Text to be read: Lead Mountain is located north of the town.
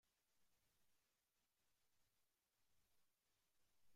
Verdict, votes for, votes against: rejected, 0, 2